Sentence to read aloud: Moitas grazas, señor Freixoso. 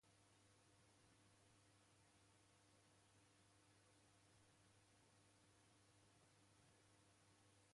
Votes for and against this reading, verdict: 0, 2, rejected